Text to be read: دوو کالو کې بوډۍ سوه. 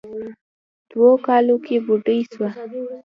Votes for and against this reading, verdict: 2, 0, accepted